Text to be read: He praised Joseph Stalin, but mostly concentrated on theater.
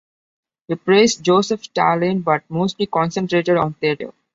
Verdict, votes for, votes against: accepted, 2, 0